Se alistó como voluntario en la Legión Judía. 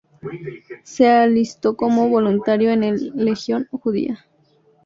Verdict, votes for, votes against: rejected, 0, 4